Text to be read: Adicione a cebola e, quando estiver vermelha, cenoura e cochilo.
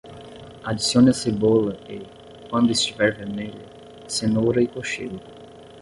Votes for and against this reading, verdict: 10, 0, accepted